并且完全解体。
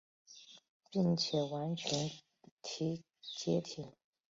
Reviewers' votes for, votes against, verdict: 1, 2, rejected